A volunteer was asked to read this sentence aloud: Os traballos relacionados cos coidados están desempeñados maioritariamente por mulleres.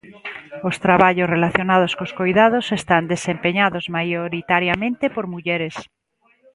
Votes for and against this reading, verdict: 1, 2, rejected